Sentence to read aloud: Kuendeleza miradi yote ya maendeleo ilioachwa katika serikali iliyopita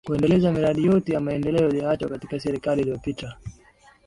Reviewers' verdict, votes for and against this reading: accepted, 3, 0